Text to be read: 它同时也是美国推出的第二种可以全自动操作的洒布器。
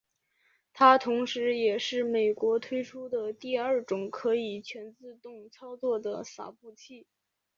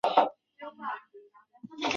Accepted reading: first